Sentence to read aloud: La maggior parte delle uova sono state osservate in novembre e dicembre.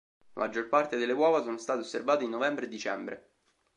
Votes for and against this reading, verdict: 3, 0, accepted